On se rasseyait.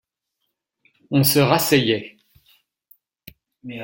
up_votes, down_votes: 1, 2